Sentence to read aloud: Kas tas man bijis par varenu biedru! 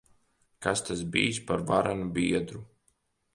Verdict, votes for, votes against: rejected, 1, 2